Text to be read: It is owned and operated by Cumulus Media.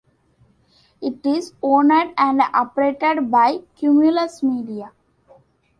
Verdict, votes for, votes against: accepted, 2, 1